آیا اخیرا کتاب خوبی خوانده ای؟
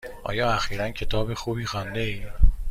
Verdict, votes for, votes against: accepted, 2, 0